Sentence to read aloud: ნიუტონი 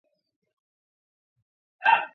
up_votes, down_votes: 1, 2